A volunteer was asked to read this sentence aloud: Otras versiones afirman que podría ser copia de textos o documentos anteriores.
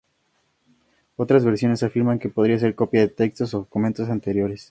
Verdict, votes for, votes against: accepted, 2, 0